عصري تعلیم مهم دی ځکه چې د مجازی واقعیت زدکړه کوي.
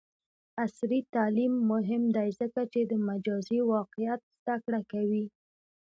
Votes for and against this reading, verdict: 1, 2, rejected